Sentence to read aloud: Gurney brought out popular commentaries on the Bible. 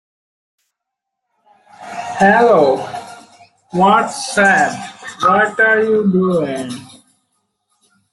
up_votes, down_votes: 0, 2